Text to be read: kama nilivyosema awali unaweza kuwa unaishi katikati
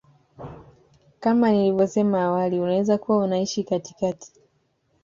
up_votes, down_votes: 2, 1